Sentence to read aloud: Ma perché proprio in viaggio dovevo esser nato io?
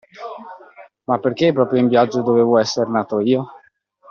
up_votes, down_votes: 2, 0